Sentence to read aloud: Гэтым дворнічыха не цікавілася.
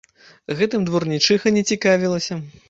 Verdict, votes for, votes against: rejected, 1, 2